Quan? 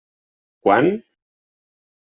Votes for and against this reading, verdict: 3, 0, accepted